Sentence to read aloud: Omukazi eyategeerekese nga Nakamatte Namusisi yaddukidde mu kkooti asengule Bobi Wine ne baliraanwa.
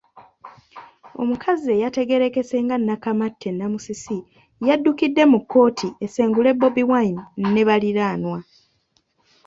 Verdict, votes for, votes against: rejected, 0, 2